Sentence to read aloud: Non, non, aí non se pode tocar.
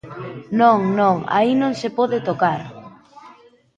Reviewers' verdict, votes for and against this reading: accepted, 2, 0